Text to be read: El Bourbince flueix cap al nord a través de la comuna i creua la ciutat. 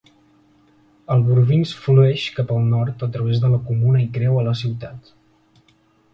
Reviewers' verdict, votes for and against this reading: accepted, 2, 1